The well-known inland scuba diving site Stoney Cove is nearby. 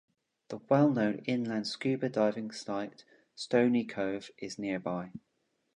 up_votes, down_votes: 2, 0